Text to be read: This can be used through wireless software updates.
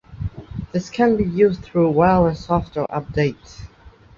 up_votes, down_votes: 3, 0